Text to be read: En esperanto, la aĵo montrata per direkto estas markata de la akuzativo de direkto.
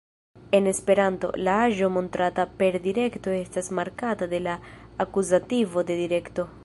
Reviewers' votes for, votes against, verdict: 2, 0, accepted